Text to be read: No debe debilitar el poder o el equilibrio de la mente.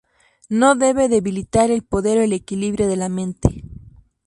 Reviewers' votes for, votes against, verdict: 2, 0, accepted